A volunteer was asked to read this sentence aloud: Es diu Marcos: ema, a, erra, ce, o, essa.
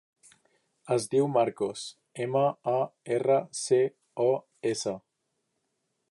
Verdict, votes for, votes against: accepted, 2, 1